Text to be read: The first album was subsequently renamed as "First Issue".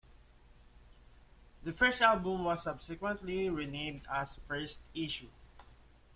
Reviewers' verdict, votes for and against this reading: accepted, 2, 0